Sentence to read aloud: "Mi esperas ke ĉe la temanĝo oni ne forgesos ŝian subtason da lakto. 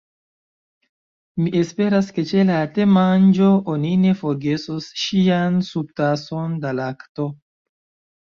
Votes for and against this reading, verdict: 2, 0, accepted